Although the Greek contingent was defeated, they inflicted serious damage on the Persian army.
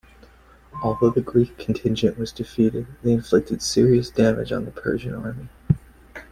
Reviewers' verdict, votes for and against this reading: accepted, 2, 0